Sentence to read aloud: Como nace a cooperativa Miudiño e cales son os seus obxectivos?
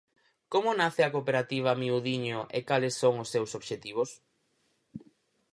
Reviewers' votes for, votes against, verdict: 4, 0, accepted